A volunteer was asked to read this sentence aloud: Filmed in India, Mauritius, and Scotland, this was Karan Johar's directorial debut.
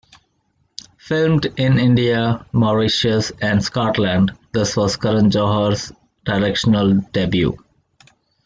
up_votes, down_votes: 1, 2